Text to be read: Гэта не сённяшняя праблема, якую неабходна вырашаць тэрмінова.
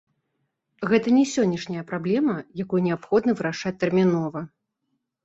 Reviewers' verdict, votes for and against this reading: accepted, 2, 0